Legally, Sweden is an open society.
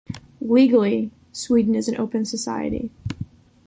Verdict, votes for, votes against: accepted, 2, 0